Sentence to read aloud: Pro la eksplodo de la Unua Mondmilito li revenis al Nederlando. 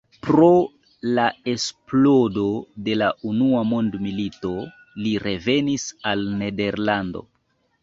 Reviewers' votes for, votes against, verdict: 2, 0, accepted